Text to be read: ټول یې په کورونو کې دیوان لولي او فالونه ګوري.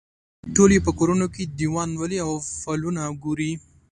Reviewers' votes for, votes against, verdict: 2, 0, accepted